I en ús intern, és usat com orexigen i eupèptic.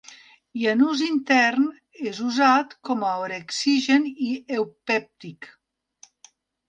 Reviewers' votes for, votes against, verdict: 2, 1, accepted